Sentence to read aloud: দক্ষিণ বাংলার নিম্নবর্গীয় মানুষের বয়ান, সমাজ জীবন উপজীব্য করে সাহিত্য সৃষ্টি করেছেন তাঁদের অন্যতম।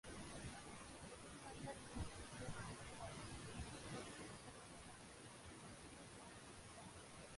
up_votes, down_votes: 0, 7